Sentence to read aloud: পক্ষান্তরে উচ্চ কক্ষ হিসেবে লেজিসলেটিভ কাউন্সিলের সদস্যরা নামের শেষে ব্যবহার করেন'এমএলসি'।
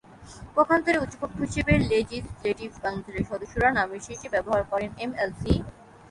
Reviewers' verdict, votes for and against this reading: rejected, 0, 3